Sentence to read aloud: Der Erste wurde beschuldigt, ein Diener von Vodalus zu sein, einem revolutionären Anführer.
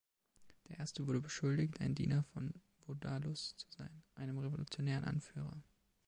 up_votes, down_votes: 2, 0